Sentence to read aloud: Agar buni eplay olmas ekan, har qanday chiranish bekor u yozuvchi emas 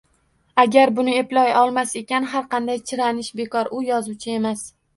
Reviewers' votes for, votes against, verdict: 2, 0, accepted